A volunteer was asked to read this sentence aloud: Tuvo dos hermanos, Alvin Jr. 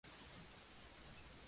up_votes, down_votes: 0, 2